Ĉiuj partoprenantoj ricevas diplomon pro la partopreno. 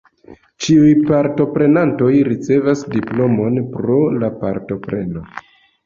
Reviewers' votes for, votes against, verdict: 2, 0, accepted